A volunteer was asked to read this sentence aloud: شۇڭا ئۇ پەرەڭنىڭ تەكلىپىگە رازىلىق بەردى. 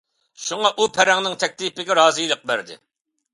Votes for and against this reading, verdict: 2, 1, accepted